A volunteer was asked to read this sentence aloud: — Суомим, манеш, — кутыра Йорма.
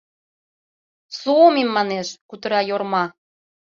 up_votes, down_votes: 2, 0